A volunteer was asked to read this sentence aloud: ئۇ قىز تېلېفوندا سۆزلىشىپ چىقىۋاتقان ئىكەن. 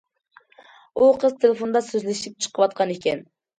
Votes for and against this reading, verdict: 2, 0, accepted